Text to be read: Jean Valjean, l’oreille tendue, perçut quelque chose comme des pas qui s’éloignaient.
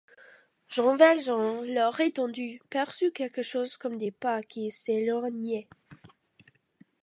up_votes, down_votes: 2, 1